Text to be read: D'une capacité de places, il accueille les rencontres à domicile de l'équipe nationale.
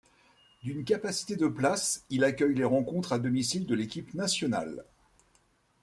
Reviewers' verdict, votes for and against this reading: accepted, 2, 0